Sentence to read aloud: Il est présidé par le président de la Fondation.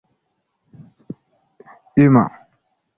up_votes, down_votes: 0, 2